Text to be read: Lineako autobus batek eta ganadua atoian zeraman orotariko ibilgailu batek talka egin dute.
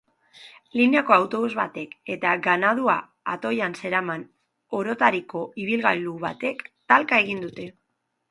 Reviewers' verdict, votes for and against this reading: accepted, 2, 0